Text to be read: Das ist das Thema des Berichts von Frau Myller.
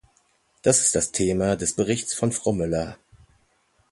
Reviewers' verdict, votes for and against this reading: accepted, 2, 0